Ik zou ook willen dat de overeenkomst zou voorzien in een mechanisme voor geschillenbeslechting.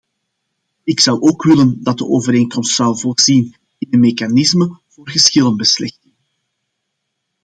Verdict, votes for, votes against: rejected, 0, 2